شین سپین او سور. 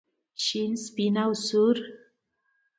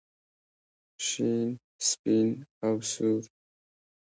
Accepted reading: first